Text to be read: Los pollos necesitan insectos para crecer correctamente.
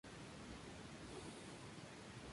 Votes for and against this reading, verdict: 0, 2, rejected